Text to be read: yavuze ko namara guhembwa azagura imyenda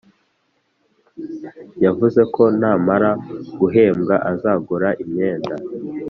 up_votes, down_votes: 2, 0